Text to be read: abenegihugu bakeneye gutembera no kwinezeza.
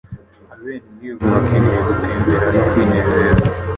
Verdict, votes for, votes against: rejected, 1, 2